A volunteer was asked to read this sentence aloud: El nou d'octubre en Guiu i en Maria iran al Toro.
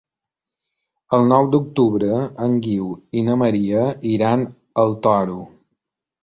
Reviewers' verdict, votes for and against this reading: rejected, 0, 2